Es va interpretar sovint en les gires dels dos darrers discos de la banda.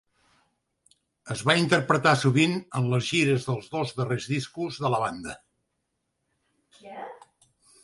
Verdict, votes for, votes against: accepted, 3, 0